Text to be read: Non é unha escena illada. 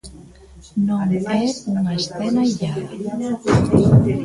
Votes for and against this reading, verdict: 2, 0, accepted